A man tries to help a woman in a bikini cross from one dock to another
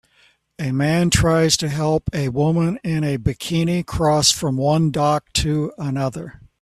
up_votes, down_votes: 2, 0